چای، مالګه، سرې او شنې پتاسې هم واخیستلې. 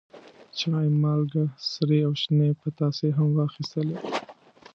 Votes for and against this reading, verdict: 1, 2, rejected